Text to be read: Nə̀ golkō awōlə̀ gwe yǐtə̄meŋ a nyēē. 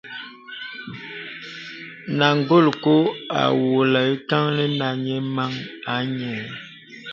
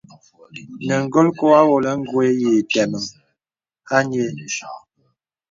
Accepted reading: second